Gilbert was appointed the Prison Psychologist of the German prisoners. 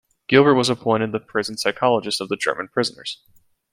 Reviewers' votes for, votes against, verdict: 2, 0, accepted